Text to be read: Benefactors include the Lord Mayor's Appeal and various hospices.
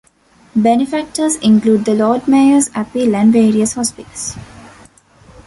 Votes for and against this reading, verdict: 2, 1, accepted